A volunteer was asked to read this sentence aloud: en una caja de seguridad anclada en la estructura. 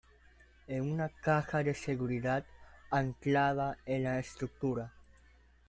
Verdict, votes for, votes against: accepted, 2, 0